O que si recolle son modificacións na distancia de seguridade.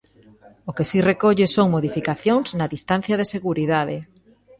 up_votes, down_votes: 1, 2